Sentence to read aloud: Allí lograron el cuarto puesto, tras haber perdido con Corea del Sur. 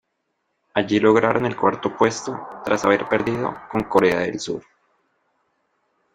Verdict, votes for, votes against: accepted, 2, 0